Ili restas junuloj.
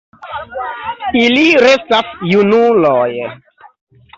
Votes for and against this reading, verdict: 2, 1, accepted